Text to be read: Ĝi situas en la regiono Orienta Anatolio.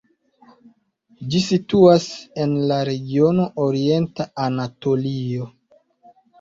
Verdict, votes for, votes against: rejected, 1, 2